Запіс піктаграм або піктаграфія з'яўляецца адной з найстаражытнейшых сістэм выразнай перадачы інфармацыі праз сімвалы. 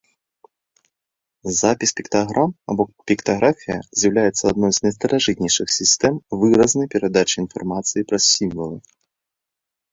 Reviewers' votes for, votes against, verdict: 2, 1, accepted